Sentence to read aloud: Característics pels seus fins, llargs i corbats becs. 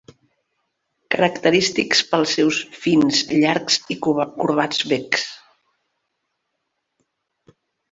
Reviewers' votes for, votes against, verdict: 0, 2, rejected